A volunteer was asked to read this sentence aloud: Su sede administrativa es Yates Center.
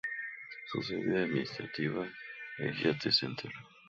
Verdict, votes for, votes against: rejected, 0, 2